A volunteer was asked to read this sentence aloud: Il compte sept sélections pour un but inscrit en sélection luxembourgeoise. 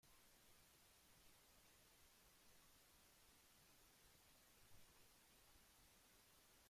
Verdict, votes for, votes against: rejected, 0, 2